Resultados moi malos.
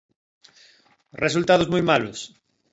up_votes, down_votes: 2, 0